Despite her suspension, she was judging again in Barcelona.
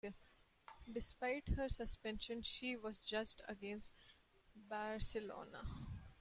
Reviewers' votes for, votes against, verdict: 0, 2, rejected